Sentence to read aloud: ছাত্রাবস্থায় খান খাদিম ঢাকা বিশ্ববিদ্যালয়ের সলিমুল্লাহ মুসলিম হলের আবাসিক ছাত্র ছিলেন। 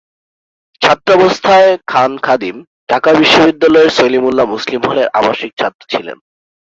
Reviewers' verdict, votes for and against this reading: accepted, 2, 0